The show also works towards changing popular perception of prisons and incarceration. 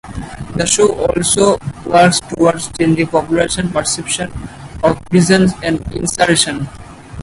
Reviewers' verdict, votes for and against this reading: accepted, 4, 2